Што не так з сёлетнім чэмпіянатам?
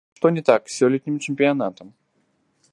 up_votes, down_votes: 3, 4